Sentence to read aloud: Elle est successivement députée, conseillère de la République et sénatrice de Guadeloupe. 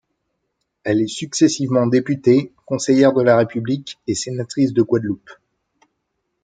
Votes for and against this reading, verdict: 3, 0, accepted